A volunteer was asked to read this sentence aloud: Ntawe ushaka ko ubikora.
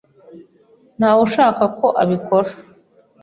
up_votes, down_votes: 1, 2